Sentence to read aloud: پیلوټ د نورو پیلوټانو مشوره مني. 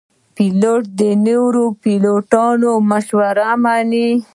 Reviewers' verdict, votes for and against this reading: rejected, 0, 2